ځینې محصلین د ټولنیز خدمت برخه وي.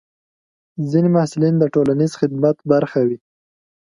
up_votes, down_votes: 2, 0